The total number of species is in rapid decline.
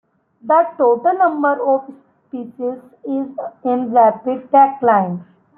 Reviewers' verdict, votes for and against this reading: accepted, 2, 1